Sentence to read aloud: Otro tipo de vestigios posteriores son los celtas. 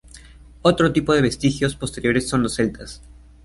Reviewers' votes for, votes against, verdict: 2, 0, accepted